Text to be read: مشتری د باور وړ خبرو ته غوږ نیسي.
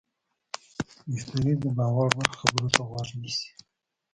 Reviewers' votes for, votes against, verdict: 0, 2, rejected